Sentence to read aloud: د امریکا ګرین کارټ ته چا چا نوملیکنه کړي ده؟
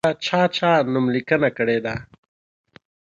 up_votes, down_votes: 0, 2